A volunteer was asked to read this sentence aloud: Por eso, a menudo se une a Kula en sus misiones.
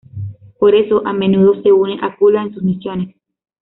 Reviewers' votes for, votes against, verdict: 2, 1, accepted